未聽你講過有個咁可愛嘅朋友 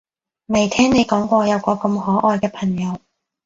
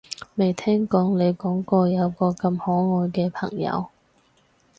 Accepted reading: first